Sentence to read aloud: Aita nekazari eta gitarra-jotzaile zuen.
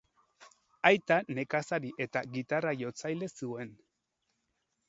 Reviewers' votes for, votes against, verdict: 2, 0, accepted